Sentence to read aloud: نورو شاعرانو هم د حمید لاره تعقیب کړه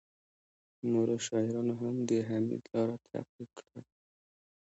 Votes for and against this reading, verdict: 1, 2, rejected